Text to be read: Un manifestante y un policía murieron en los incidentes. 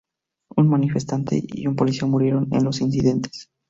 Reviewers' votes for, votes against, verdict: 2, 0, accepted